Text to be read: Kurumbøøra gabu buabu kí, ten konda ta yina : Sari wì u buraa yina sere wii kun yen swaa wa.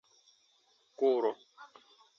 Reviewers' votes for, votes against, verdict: 0, 2, rejected